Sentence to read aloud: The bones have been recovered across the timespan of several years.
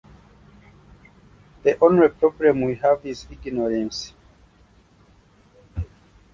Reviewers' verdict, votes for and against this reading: rejected, 0, 2